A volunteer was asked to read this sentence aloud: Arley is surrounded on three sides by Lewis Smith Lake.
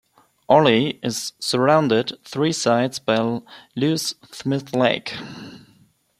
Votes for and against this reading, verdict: 2, 0, accepted